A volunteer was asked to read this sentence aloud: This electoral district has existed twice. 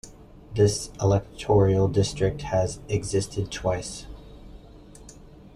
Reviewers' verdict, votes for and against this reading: rejected, 0, 2